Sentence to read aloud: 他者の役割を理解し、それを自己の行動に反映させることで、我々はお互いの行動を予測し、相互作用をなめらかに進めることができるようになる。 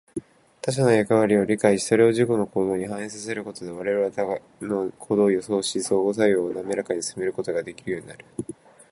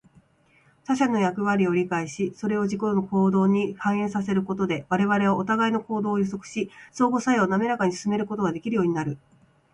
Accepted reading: second